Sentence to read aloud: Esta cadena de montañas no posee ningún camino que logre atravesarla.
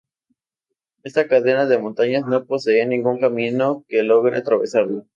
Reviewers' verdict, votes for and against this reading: accepted, 2, 0